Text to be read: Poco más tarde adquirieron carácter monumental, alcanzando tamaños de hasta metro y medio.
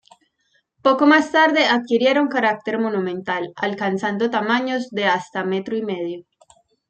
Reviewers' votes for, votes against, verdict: 2, 0, accepted